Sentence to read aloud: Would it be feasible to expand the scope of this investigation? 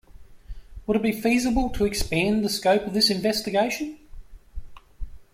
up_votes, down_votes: 2, 0